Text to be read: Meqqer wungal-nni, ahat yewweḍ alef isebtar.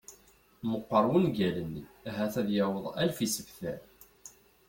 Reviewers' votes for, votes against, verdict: 0, 2, rejected